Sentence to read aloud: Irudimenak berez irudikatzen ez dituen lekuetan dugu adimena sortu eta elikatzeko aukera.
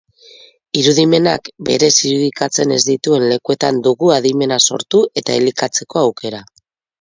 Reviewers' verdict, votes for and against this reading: rejected, 0, 2